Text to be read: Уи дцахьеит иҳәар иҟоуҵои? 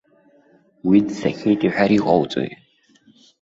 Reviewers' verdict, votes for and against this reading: accepted, 2, 0